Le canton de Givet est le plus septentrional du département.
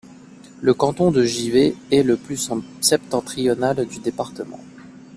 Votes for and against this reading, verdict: 0, 2, rejected